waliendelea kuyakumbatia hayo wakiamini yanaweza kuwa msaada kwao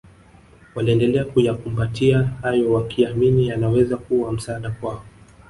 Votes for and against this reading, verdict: 2, 1, accepted